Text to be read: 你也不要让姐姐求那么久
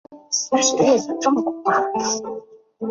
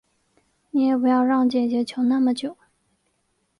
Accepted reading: second